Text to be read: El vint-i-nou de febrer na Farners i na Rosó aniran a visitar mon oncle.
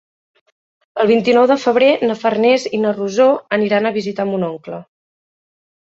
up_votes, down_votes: 2, 0